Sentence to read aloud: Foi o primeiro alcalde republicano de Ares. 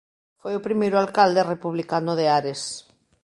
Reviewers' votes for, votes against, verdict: 2, 1, accepted